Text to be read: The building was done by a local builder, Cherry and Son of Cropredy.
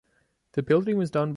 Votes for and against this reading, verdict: 1, 2, rejected